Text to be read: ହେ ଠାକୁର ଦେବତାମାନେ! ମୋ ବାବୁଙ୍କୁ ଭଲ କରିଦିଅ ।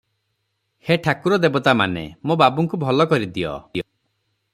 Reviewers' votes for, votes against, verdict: 0, 3, rejected